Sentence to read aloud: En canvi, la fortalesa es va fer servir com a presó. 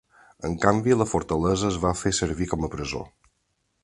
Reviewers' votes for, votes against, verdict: 4, 1, accepted